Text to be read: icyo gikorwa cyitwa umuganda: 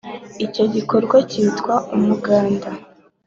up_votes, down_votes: 2, 1